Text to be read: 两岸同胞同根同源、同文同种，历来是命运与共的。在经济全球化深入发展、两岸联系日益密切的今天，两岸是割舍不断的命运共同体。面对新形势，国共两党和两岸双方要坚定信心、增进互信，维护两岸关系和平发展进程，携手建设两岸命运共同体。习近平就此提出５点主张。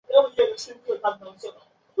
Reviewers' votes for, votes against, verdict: 0, 2, rejected